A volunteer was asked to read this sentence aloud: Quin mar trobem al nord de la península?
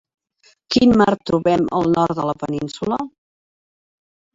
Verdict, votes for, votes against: rejected, 0, 2